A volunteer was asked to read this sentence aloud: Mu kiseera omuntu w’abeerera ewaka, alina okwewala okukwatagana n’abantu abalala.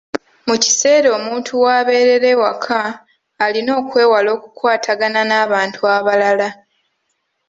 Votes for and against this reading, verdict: 0, 2, rejected